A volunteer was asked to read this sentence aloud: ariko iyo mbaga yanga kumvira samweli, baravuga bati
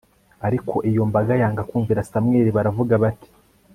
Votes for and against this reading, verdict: 2, 0, accepted